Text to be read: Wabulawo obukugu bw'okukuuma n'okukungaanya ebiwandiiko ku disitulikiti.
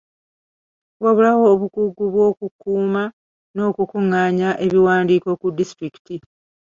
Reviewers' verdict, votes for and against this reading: rejected, 0, 2